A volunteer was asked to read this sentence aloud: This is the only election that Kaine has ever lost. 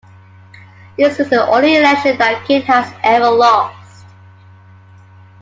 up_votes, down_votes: 2, 1